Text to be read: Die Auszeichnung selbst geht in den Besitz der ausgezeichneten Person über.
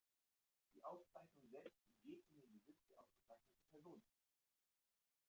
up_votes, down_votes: 0, 2